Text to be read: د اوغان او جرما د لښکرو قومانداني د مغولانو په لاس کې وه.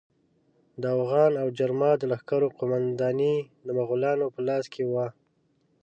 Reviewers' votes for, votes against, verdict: 2, 0, accepted